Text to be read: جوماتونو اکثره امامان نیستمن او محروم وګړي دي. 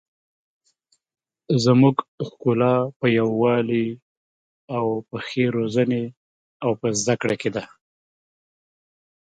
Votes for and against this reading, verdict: 0, 2, rejected